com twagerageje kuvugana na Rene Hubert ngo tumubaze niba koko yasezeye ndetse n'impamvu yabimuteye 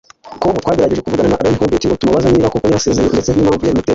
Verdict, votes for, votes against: rejected, 0, 2